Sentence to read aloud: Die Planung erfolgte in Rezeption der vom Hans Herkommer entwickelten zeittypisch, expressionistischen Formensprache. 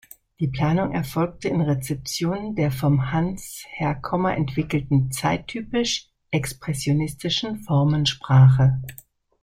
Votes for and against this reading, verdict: 2, 0, accepted